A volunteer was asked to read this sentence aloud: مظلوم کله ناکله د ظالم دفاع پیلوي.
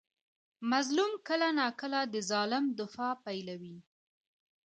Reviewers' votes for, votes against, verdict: 2, 1, accepted